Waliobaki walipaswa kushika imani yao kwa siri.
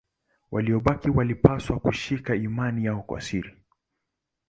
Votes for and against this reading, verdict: 2, 0, accepted